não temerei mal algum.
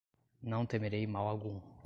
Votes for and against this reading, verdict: 2, 0, accepted